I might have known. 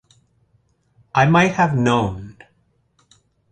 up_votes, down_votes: 2, 0